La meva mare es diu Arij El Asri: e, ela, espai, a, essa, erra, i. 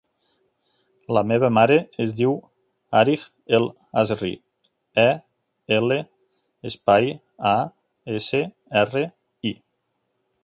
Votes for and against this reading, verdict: 1, 2, rejected